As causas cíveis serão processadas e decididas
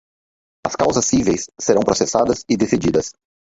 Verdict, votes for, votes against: rejected, 2, 4